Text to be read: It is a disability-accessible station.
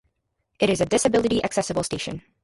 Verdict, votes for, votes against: rejected, 0, 2